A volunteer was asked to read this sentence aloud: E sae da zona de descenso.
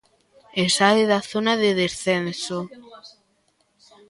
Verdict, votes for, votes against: rejected, 1, 2